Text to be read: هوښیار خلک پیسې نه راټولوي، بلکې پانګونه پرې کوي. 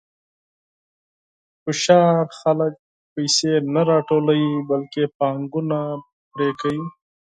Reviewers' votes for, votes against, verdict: 0, 4, rejected